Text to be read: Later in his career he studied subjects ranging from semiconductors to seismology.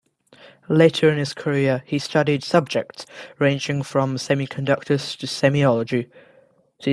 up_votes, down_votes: 0, 2